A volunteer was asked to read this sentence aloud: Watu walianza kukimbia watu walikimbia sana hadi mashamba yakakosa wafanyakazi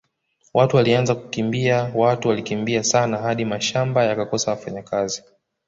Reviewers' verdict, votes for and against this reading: accepted, 2, 0